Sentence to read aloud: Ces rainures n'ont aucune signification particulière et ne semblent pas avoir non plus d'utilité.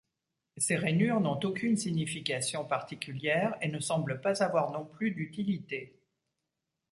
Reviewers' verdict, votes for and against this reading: accepted, 2, 0